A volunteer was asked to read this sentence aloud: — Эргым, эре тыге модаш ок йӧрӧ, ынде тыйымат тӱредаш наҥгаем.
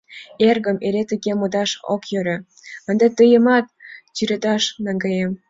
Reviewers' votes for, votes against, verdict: 2, 1, accepted